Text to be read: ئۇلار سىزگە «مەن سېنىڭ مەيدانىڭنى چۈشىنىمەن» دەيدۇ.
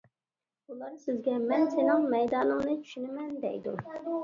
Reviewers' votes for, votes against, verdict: 2, 0, accepted